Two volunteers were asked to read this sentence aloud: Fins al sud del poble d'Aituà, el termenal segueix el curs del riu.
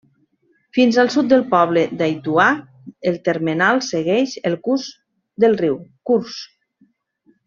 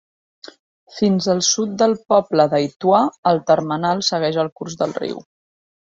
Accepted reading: second